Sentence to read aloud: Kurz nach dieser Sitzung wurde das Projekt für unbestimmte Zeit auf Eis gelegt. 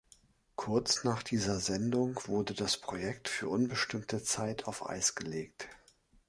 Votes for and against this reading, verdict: 1, 2, rejected